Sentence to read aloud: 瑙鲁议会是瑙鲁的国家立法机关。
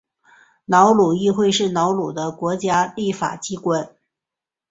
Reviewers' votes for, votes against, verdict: 11, 0, accepted